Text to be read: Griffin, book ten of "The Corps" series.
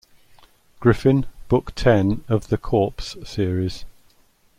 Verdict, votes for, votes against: rejected, 0, 2